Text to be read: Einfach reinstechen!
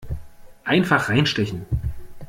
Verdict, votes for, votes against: accepted, 2, 0